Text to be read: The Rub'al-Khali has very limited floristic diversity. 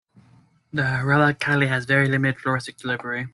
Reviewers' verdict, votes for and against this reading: rejected, 0, 2